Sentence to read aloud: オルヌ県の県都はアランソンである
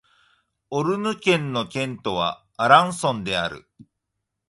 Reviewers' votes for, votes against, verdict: 2, 0, accepted